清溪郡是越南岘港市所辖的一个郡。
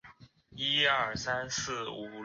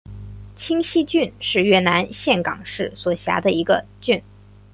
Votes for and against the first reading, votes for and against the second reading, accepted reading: 0, 5, 4, 1, second